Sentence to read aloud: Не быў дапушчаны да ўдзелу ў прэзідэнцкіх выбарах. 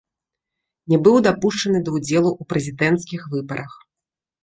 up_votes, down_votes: 2, 0